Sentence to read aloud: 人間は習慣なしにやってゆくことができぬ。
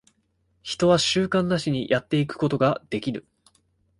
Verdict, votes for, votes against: rejected, 0, 2